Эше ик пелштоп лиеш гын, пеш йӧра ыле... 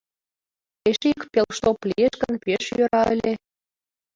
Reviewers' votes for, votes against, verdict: 2, 0, accepted